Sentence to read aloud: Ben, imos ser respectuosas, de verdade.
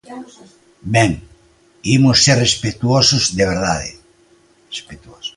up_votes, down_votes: 0, 2